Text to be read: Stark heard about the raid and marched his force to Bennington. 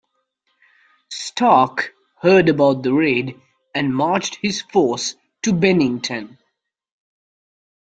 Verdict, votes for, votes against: accepted, 2, 0